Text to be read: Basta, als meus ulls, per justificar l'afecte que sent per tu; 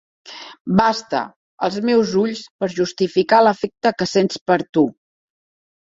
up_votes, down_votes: 0, 2